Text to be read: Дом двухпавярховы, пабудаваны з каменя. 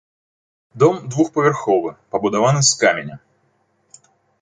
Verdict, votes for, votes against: accepted, 2, 0